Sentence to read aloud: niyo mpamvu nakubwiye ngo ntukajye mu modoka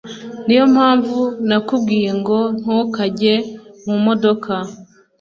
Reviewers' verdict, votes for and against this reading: accepted, 2, 0